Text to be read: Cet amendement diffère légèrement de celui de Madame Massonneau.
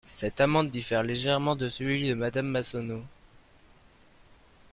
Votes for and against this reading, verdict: 0, 2, rejected